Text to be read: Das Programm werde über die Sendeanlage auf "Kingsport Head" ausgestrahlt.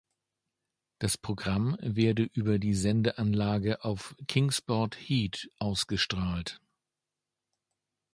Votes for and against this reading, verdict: 0, 2, rejected